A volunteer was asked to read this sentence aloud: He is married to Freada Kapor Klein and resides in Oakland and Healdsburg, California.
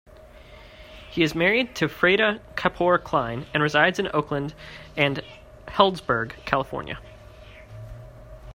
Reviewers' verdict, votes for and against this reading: accepted, 2, 0